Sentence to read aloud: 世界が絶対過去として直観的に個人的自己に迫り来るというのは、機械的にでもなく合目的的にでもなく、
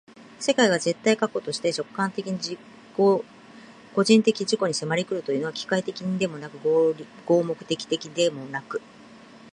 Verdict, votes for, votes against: rejected, 0, 2